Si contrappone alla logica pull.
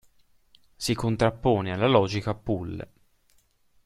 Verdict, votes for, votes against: accepted, 2, 0